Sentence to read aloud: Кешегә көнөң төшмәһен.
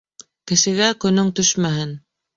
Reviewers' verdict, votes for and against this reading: accepted, 2, 0